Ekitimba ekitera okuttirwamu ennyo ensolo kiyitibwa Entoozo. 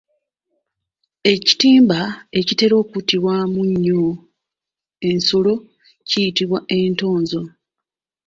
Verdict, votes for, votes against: rejected, 0, 2